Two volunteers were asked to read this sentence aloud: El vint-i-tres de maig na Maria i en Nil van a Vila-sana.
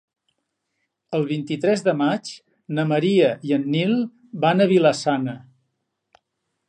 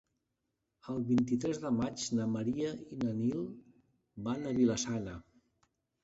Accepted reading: first